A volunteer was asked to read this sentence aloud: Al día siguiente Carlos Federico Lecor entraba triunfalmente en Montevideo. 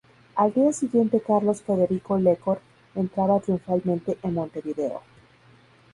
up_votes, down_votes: 2, 0